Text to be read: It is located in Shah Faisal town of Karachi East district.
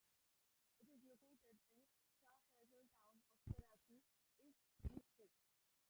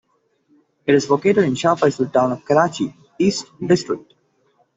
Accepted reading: second